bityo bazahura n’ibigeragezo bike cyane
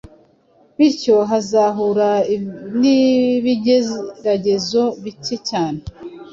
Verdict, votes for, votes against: rejected, 0, 2